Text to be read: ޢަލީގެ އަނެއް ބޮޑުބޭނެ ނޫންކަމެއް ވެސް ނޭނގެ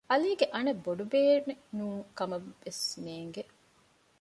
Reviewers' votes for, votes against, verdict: 2, 0, accepted